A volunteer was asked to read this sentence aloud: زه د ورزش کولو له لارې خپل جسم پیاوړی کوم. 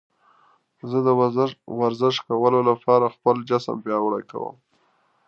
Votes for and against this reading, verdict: 0, 2, rejected